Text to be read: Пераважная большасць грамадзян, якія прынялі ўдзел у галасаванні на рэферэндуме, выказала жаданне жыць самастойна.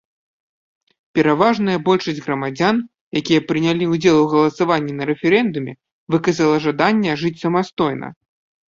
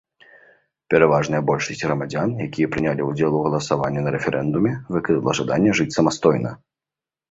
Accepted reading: first